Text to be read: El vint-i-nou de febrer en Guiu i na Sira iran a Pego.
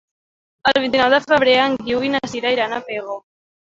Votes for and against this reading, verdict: 2, 0, accepted